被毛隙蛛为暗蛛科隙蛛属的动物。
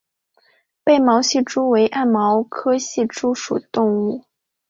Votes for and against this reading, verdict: 1, 2, rejected